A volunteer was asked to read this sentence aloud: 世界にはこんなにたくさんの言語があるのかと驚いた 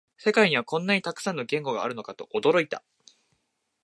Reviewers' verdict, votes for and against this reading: accepted, 2, 0